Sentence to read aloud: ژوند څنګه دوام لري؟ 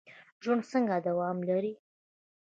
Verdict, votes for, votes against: rejected, 1, 2